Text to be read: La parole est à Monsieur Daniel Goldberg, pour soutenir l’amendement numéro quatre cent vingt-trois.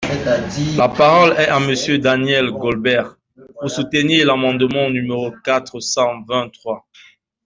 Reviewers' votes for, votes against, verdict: 0, 2, rejected